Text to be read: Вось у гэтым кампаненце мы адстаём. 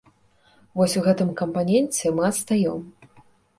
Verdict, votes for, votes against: accepted, 2, 0